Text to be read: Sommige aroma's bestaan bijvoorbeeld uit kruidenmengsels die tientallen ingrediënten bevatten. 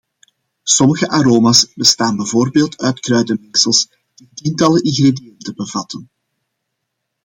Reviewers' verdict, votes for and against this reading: rejected, 0, 2